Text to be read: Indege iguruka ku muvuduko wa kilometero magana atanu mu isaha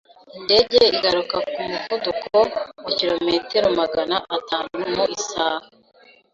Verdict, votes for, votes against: rejected, 1, 2